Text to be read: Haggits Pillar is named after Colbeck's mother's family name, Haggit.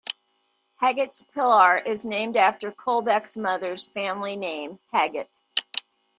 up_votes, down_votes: 1, 2